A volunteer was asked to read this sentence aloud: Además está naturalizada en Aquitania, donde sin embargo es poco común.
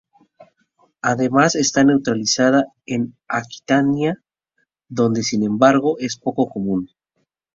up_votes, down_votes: 0, 2